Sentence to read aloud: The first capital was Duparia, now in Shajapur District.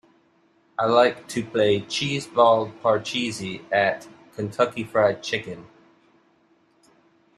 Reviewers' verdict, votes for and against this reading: rejected, 0, 2